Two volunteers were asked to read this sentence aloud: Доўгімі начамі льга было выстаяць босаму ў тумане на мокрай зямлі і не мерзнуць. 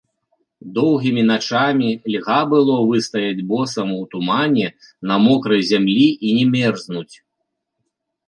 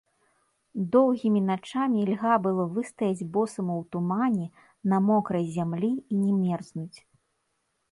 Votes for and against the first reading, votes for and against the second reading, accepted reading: 2, 0, 1, 2, first